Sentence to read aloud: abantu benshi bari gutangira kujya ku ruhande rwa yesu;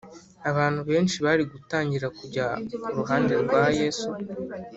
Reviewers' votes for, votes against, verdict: 3, 0, accepted